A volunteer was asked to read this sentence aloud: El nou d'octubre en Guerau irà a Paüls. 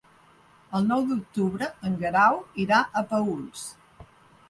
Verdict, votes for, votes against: accepted, 3, 0